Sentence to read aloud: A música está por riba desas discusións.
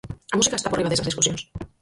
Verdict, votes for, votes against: rejected, 0, 4